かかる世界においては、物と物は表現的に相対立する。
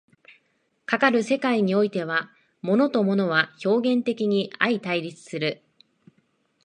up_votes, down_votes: 2, 1